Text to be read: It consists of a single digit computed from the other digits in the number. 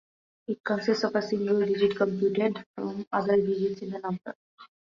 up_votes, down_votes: 2, 0